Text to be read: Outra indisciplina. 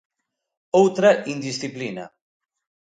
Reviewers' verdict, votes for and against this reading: accepted, 2, 0